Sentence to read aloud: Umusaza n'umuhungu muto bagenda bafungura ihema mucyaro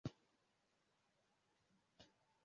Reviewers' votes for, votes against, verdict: 0, 2, rejected